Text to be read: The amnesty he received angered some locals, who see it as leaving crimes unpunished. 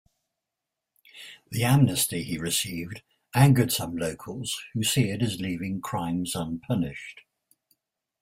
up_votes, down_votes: 2, 0